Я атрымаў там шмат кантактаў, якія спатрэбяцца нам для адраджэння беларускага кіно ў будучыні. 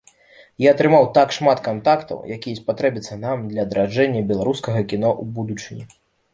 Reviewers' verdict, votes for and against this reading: accepted, 2, 1